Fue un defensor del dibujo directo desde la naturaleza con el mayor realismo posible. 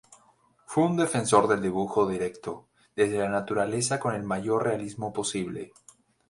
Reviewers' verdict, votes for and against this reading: accepted, 4, 0